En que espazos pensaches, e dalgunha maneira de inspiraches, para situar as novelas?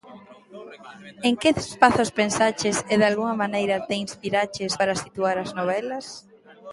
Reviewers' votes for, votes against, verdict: 0, 2, rejected